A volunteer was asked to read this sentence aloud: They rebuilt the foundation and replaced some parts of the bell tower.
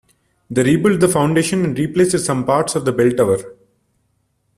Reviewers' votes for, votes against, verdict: 2, 1, accepted